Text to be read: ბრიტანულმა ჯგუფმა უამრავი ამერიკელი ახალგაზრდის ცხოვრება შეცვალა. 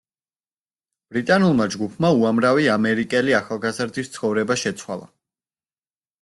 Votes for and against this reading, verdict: 2, 0, accepted